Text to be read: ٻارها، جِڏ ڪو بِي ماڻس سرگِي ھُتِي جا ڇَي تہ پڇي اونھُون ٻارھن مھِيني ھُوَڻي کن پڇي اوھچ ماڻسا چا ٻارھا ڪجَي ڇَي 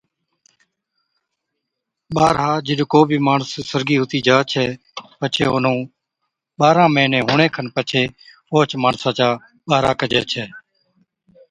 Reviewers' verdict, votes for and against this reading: accepted, 2, 0